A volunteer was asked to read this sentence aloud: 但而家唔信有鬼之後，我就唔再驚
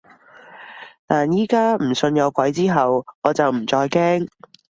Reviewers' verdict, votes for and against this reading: rejected, 1, 2